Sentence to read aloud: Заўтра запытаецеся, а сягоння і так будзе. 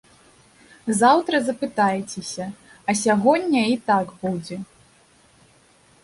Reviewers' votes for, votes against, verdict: 2, 0, accepted